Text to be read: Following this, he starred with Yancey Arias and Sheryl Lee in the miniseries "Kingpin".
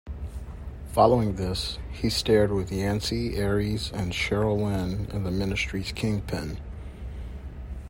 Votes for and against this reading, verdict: 0, 2, rejected